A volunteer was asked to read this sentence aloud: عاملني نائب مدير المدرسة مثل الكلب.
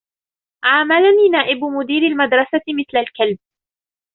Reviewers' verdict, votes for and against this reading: accepted, 2, 0